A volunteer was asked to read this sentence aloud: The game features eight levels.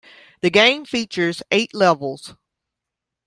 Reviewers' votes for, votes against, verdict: 2, 0, accepted